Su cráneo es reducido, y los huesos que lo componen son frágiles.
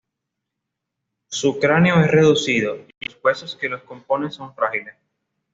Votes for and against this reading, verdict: 2, 0, accepted